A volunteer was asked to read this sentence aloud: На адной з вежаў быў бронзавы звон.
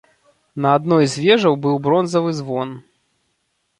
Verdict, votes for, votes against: accepted, 2, 0